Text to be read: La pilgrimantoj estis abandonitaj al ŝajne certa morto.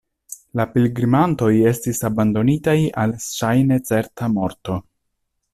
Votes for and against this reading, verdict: 1, 2, rejected